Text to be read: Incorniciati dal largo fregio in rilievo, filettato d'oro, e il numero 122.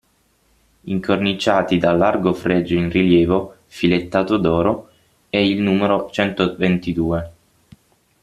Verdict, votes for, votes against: rejected, 0, 2